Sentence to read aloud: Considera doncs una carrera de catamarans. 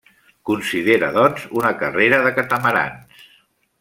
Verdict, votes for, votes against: accepted, 3, 0